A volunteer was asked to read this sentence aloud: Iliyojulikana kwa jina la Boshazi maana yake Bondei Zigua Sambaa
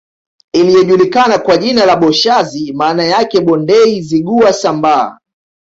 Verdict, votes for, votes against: accepted, 2, 0